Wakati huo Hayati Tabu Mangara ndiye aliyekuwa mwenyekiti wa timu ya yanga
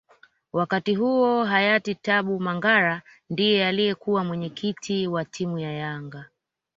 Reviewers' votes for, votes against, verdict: 2, 0, accepted